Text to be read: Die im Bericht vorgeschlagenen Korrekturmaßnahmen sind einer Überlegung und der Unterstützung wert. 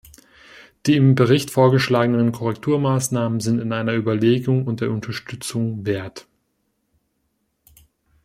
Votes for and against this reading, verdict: 1, 2, rejected